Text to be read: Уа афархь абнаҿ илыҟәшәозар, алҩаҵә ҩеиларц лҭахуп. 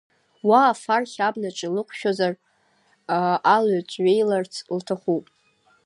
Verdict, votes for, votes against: rejected, 1, 2